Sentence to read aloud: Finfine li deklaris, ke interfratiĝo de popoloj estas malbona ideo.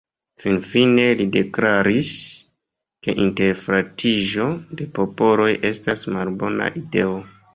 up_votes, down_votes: 2, 1